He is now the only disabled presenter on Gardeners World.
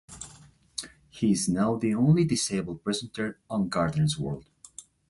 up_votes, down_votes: 2, 1